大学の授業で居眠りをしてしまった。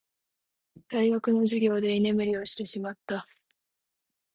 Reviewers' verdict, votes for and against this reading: accepted, 2, 0